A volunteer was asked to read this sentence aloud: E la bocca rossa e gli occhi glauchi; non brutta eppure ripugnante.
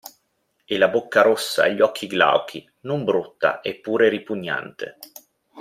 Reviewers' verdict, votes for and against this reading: accepted, 2, 0